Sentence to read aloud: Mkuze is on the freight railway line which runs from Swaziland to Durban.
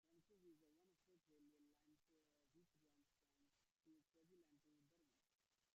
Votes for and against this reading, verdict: 0, 2, rejected